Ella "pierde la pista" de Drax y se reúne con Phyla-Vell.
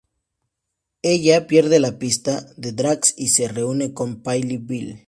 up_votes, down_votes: 0, 2